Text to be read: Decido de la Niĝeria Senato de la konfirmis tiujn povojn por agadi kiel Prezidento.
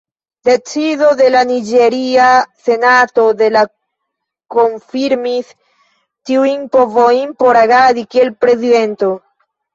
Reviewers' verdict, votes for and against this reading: rejected, 1, 2